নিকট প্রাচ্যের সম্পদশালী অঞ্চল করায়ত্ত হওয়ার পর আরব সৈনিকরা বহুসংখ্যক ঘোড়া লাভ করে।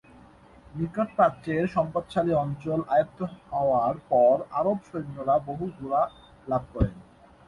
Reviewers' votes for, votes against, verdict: 1, 2, rejected